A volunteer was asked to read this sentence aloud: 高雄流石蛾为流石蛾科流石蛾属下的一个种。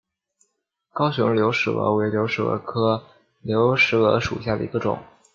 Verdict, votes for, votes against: accepted, 2, 0